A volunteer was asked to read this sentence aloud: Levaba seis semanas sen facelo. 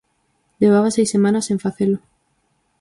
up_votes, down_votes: 4, 0